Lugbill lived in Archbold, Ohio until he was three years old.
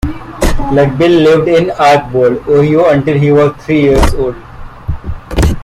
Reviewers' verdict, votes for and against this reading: rejected, 0, 3